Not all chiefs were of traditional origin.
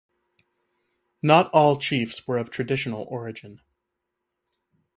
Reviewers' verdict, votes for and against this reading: accepted, 4, 0